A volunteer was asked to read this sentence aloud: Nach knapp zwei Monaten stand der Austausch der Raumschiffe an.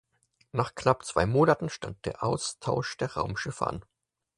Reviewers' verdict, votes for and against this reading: accepted, 4, 0